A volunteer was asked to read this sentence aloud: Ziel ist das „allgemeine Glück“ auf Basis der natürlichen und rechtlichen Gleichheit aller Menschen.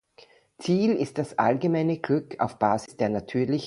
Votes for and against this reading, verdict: 0, 2, rejected